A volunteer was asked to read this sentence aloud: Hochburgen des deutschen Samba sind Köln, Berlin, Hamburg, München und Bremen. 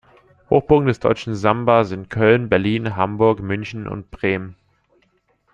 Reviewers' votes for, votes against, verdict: 2, 0, accepted